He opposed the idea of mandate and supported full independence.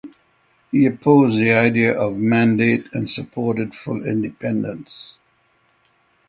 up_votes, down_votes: 0, 3